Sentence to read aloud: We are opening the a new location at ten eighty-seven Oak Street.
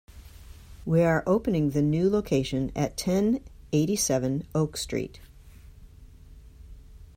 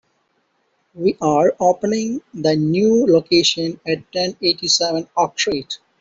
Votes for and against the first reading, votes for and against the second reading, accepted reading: 2, 0, 0, 2, first